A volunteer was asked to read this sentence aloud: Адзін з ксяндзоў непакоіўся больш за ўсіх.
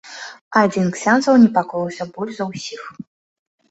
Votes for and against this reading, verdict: 2, 1, accepted